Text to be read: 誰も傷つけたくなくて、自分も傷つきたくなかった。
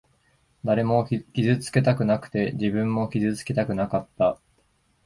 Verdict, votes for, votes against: rejected, 0, 2